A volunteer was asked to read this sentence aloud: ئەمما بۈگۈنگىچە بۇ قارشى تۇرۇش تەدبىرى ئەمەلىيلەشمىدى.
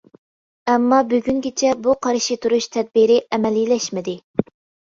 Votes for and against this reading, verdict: 2, 0, accepted